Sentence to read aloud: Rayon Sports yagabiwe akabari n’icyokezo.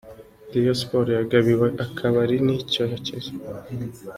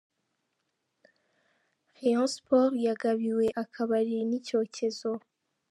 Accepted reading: first